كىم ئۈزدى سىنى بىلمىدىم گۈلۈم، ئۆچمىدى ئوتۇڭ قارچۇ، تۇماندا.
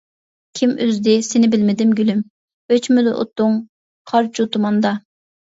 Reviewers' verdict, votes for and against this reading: accepted, 2, 0